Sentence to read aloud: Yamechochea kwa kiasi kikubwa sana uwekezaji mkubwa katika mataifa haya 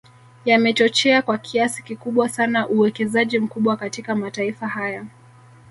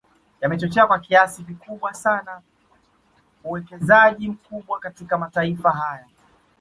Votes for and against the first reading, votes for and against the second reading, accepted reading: 1, 2, 2, 0, second